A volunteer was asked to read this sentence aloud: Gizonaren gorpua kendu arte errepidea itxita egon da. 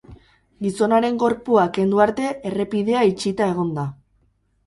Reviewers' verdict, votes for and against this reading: accepted, 4, 0